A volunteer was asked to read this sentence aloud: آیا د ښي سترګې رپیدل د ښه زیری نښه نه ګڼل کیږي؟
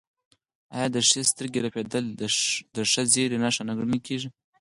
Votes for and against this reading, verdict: 0, 4, rejected